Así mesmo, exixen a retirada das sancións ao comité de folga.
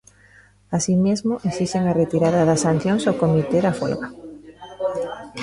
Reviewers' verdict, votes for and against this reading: rejected, 0, 2